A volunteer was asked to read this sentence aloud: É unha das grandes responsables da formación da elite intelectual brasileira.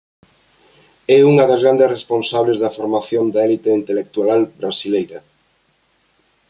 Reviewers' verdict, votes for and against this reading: rejected, 0, 2